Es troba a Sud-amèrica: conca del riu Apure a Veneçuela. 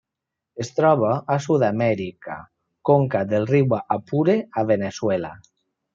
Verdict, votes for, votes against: accepted, 3, 0